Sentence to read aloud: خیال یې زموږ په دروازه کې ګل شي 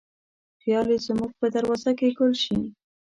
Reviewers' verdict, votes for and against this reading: accepted, 2, 0